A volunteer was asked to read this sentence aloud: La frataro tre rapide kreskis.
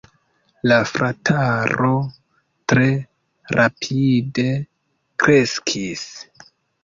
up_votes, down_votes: 2, 0